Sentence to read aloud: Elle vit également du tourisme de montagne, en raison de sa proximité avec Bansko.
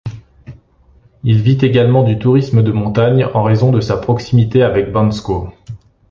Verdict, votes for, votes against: rejected, 1, 2